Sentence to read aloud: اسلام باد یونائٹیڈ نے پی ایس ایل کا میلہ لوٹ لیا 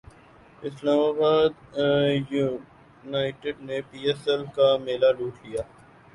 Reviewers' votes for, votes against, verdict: 6, 7, rejected